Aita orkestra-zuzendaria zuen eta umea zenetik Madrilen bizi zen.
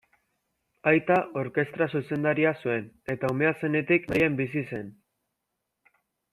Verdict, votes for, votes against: rejected, 1, 2